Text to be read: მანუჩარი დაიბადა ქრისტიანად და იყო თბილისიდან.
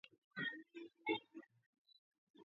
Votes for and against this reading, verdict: 0, 2, rejected